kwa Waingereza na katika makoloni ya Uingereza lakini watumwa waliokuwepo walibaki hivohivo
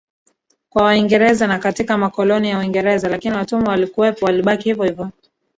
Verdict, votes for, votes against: rejected, 0, 2